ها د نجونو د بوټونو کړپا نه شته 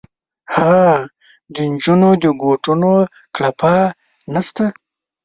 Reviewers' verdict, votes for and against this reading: rejected, 1, 2